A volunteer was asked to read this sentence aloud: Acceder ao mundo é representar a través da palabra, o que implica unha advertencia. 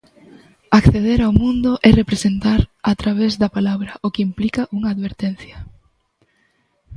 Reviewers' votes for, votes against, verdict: 2, 0, accepted